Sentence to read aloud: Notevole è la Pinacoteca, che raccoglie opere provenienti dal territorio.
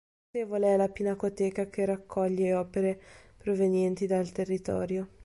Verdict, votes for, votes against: accepted, 2, 0